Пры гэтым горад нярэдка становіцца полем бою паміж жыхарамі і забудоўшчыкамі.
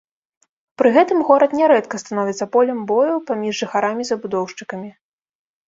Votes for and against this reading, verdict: 1, 2, rejected